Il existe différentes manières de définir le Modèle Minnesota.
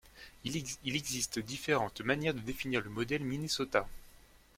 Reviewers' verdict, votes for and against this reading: rejected, 1, 2